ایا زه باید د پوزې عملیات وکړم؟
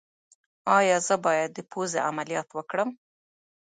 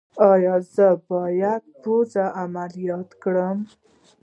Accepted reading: first